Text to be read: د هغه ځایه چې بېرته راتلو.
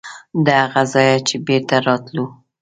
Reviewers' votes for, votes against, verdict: 2, 0, accepted